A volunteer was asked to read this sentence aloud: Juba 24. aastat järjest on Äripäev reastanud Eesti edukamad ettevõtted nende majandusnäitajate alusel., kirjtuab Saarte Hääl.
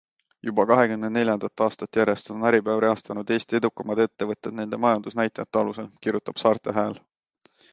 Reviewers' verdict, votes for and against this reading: rejected, 0, 2